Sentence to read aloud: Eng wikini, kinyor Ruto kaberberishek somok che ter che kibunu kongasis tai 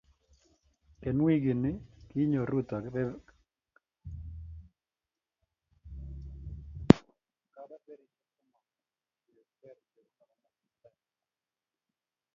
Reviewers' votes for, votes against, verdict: 0, 2, rejected